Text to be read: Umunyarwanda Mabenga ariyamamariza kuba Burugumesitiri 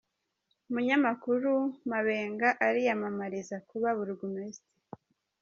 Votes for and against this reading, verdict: 1, 2, rejected